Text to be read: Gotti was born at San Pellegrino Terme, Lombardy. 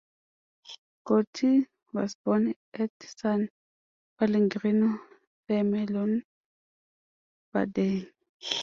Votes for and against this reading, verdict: 0, 2, rejected